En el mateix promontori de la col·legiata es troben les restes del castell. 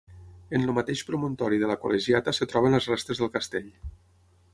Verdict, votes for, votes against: rejected, 3, 6